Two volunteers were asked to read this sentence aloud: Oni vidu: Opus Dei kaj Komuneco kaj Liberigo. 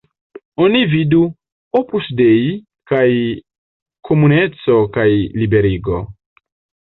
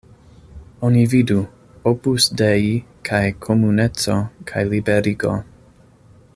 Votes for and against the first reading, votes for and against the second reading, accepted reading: 1, 2, 2, 0, second